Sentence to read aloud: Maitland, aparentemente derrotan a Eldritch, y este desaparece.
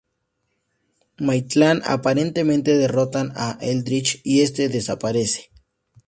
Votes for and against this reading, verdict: 2, 0, accepted